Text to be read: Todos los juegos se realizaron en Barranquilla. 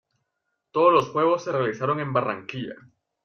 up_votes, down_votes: 1, 2